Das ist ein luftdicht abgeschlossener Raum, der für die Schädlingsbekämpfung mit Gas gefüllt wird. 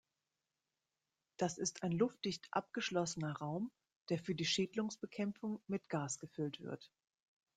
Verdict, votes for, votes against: rejected, 0, 2